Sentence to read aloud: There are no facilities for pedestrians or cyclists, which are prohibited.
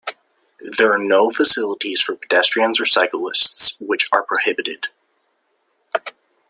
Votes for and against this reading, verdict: 2, 0, accepted